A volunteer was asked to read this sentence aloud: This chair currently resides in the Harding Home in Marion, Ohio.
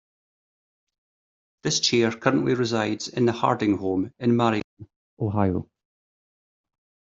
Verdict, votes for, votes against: rejected, 0, 2